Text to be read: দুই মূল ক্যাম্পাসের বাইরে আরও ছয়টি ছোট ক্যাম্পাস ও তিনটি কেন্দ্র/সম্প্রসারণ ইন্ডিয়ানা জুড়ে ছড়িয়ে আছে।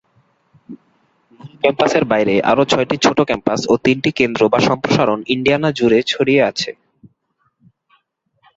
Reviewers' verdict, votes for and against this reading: rejected, 0, 2